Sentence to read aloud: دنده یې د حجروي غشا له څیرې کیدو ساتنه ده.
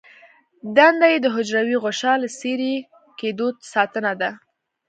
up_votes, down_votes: 2, 0